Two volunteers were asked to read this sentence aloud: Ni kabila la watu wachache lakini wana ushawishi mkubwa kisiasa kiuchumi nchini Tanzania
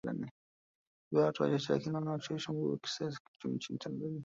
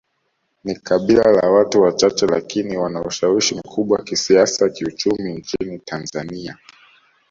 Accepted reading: second